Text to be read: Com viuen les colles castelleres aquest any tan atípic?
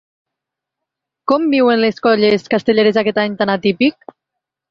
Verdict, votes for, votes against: accepted, 3, 1